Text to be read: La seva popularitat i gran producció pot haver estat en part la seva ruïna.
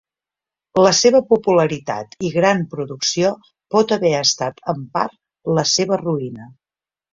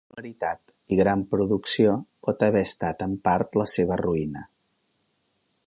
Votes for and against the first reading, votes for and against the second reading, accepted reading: 2, 0, 1, 2, first